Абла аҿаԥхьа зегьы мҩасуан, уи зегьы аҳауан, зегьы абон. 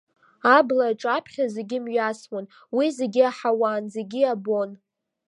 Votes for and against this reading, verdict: 2, 0, accepted